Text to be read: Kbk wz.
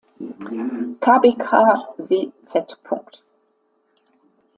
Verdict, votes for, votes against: rejected, 1, 2